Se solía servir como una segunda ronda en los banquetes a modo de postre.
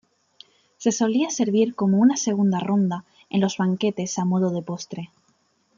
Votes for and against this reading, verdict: 2, 0, accepted